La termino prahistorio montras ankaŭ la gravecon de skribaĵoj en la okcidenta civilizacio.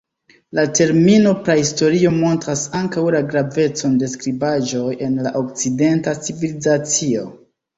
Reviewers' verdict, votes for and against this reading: accepted, 2, 1